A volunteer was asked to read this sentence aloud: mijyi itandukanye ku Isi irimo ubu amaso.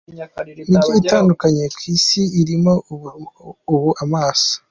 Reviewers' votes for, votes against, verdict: 0, 2, rejected